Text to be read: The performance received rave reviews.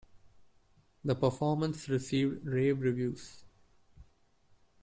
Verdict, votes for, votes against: accepted, 2, 1